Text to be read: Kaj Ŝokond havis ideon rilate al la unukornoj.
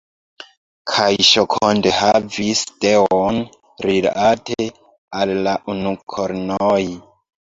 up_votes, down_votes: 1, 2